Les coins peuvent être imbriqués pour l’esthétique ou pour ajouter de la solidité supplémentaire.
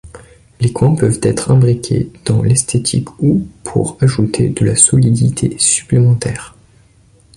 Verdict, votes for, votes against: rejected, 1, 2